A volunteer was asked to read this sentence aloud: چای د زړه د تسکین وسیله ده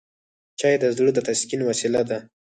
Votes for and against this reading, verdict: 4, 2, accepted